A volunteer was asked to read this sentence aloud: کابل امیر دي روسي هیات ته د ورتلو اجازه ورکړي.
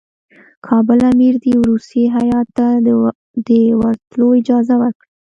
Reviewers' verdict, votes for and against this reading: accepted, 2, 0